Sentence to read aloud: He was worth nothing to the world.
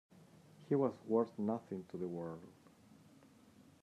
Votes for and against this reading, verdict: 2, 0, accepted